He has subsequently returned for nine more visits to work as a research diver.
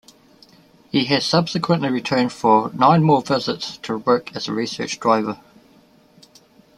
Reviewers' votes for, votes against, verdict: 0, 2, rejected